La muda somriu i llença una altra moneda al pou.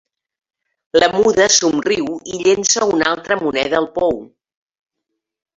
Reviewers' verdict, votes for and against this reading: rejected, 1, 2